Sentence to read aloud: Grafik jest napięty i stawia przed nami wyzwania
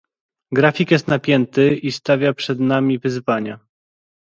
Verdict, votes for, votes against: accepted, 2, 0